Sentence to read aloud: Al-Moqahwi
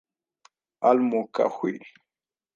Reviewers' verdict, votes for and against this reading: rejected, 0, 2